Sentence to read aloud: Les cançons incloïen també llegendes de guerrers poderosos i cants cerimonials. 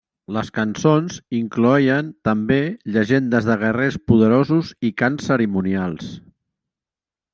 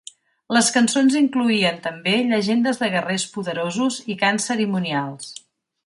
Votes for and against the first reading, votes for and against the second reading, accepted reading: 0, 2, 5, 0, second